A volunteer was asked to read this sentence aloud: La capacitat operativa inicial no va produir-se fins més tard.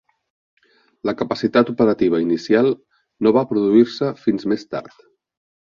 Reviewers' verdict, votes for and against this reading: accepted, 3, 0